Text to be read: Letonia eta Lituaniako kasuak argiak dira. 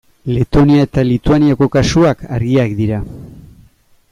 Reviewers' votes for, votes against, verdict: 2, 0, accepted